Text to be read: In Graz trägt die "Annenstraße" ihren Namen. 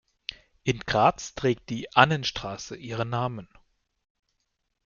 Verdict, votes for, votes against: accepted, 2, 0